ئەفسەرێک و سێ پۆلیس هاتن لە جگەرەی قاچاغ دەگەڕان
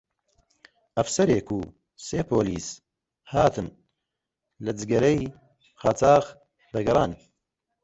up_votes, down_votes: 1, 2